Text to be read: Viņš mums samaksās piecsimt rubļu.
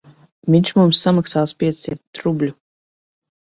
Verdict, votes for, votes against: rejected, 0, 2